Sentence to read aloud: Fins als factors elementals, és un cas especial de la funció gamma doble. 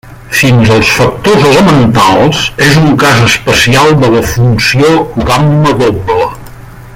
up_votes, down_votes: 0, 2